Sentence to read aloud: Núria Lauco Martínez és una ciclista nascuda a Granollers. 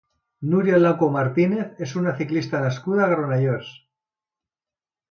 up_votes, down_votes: 2, 0